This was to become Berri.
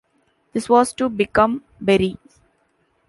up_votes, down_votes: 2, 0